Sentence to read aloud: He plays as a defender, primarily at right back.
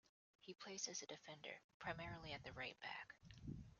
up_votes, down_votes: 1, 2